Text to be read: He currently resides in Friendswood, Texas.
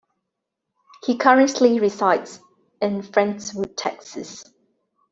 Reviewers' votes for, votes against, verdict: 2, 0, accepted